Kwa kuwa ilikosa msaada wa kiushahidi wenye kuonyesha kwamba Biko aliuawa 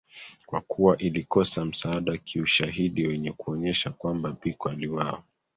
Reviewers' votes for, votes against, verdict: 2, 0, accepted